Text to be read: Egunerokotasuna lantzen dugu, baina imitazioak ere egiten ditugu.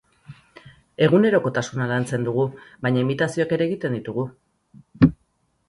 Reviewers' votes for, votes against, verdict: 8, 0, accepted